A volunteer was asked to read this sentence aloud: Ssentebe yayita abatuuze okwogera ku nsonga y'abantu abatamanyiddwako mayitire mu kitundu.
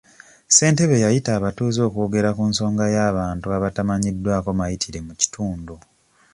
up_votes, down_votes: 2, 0